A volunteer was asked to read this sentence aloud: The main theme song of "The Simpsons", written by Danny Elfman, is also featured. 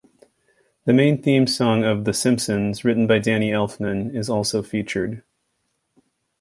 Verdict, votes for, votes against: accepted, 2, 0